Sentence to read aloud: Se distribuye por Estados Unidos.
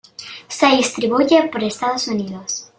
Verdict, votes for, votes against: accepted, 2, 0